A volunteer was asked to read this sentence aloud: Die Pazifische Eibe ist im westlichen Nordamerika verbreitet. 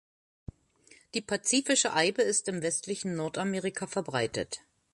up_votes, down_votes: 2, 0